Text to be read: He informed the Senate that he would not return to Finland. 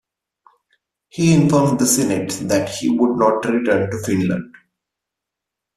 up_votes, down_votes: 2, 0